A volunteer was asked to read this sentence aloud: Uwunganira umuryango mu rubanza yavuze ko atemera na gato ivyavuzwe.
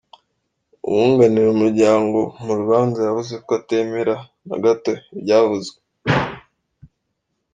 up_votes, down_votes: 0, 2